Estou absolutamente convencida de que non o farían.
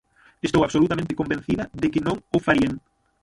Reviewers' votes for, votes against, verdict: 0, 6, rejected